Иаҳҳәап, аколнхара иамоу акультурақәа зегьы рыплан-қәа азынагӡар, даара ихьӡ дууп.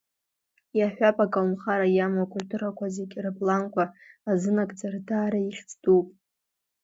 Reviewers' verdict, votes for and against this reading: accepted, 2, 0